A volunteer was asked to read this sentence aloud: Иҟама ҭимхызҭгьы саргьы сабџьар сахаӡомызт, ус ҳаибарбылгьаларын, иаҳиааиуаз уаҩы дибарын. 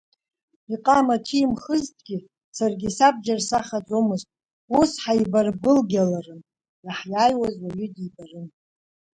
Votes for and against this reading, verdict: 1, 2, rejected